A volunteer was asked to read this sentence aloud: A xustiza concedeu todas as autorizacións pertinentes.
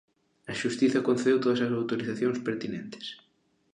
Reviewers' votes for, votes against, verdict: 2, 0, accepted